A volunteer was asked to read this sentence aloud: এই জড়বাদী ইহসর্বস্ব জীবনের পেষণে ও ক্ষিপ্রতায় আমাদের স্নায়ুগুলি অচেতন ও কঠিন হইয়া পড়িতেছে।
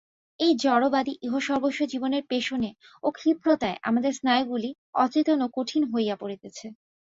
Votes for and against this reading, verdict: 2, 0, accepted